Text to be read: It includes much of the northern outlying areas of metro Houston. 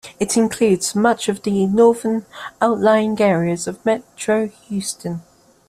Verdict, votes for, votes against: accepted, 2, 0